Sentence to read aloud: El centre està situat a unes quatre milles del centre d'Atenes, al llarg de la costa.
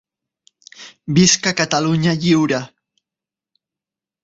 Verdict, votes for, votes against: rejected, 0, 4